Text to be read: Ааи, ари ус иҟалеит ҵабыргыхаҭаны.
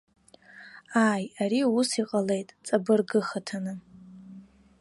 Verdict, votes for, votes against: accepted, 2, 0